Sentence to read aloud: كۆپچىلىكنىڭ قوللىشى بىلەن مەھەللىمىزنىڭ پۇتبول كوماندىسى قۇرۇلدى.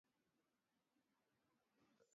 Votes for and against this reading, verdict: 0, 4, rejected